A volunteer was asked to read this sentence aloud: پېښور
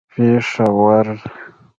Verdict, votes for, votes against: rejected, 0, 2